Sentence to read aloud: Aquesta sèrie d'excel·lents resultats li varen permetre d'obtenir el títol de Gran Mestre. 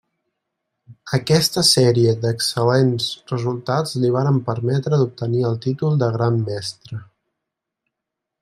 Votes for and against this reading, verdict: 3, 0, accepted